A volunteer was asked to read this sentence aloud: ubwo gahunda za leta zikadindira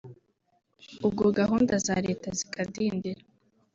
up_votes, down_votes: 0, 2